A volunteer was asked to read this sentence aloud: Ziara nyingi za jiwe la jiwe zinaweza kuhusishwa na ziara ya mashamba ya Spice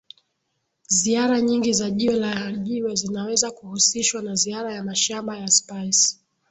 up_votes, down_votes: 0, 2